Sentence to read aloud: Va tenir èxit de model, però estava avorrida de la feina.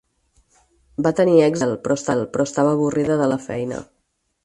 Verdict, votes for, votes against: rejected, 2, 4